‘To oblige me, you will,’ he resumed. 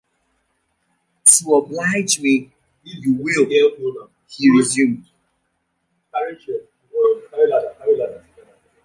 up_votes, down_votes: 0, 3